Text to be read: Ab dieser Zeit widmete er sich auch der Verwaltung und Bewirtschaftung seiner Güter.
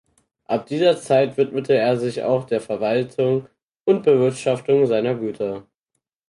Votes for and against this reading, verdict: 4, 0, accepted